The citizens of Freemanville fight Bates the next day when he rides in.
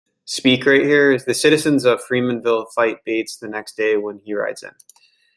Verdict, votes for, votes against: rejected, 0, 2